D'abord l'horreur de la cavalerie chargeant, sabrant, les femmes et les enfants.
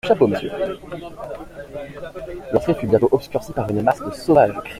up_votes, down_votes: 0, 2